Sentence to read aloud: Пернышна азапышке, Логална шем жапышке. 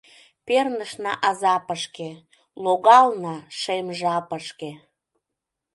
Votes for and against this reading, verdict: 2, 0, accepted